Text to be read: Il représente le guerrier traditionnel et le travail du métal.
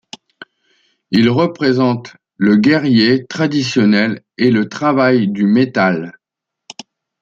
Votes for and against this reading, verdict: 2, 0, accepted